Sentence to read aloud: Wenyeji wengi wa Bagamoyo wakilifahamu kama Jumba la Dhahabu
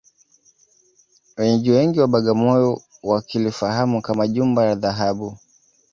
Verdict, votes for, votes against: rejected, 0, 2